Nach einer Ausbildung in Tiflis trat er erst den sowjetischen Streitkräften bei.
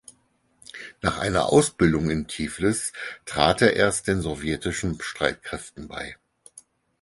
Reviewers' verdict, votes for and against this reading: accepted, 4, 0